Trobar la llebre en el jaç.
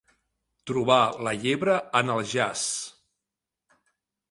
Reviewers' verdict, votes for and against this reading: accepted, 2, 0